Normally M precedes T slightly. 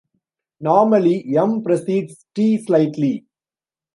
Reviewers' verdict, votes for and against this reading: rejected, 1, 2